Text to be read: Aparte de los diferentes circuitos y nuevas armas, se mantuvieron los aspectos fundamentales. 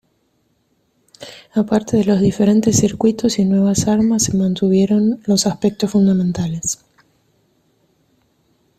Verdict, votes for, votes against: accepted, 2, 1